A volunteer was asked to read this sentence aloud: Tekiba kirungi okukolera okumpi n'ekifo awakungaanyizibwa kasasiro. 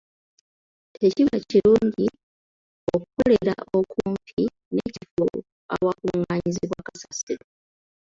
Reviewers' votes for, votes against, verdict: 0, 2, rejected